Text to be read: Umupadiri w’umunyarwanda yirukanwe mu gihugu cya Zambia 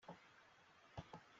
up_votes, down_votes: 0, 2